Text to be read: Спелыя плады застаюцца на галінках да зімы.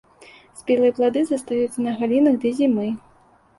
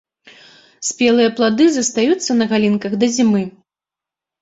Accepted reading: second